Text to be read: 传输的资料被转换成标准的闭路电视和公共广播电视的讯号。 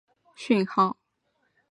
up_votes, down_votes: 1, 2